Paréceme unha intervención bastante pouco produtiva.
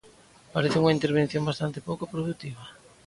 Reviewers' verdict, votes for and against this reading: accepted, 2, 0